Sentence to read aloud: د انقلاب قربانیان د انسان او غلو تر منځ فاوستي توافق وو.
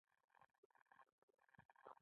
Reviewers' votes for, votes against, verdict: 1, 2, rejected